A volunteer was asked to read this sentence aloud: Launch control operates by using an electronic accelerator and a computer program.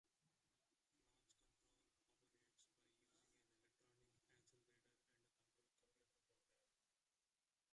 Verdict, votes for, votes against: rejected, 0, 2